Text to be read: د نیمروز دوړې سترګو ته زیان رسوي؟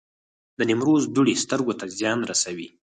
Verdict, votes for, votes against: rejected, 2, 4